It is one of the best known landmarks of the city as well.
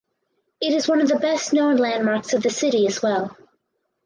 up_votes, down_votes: 2, 2